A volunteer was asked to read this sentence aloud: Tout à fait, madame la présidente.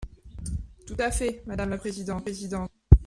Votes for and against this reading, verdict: 1, 2, rejected